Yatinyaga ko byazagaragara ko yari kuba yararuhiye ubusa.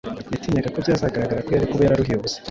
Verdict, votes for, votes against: accepted, 2, 0